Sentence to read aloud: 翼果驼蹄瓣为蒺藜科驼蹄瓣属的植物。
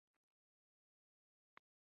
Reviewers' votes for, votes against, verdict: 0, 2, rejected